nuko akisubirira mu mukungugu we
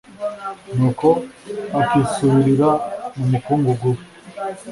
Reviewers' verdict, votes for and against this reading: accepted, 2, 0